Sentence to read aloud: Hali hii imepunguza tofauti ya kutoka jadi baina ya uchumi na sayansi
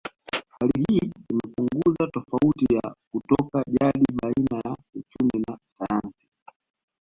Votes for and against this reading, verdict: 0, 2, rejected